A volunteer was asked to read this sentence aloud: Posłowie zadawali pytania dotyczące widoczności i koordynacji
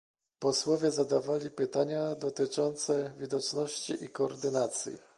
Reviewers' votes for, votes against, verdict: 2, 0, accepted